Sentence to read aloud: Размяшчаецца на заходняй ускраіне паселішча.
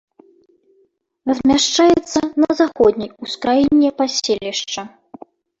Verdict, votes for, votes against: rejected, 0, 2